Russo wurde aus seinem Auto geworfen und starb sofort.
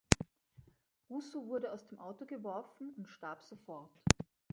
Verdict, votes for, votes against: rejected, 0, 2